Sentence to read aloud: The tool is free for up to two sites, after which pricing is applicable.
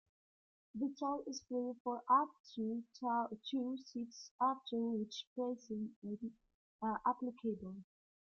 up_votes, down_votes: 0, 2